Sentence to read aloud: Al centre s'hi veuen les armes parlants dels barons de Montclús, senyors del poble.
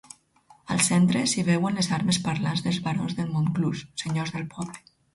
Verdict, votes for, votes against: rejected, 2, 4